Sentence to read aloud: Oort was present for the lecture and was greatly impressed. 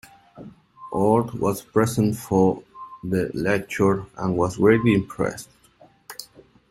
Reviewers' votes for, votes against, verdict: 2, 0, accepted